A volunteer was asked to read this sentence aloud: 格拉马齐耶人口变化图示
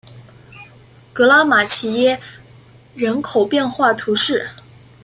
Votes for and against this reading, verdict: 2, 1, accepted